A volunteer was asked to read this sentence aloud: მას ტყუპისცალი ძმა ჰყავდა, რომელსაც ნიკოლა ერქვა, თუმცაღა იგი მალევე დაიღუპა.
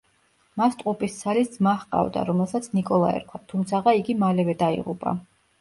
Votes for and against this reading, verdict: 2, 0, accepted